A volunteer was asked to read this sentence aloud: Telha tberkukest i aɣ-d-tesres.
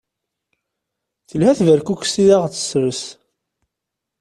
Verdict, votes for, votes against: accepted, 2, 0